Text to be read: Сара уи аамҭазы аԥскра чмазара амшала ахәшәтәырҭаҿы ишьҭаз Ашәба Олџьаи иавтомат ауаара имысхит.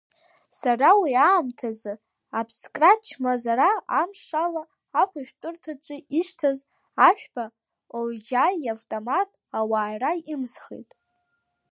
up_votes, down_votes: 2, 0